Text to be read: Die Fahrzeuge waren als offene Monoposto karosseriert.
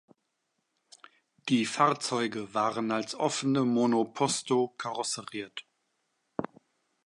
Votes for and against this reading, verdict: 2, 0, accepted